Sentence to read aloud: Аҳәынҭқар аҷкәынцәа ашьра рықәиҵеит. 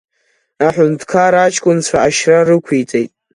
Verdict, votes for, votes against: accepted, 2, 0